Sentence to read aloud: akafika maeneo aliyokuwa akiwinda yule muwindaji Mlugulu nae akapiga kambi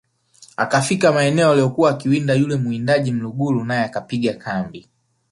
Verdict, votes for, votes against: rejected, 0, 2